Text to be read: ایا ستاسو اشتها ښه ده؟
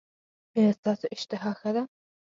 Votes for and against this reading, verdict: 4, 0, accepted